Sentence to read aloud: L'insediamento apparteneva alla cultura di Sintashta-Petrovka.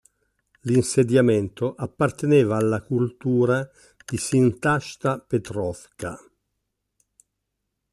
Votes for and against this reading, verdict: 2, 0, accepted